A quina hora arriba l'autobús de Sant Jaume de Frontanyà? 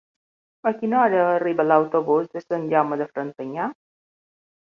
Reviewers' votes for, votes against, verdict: 2, 0, accepted